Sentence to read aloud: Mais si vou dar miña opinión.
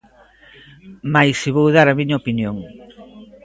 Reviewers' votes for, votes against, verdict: 1, 2, rejected